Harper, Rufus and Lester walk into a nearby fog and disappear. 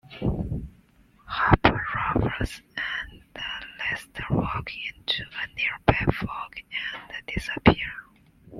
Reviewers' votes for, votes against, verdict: 1, 2, rejected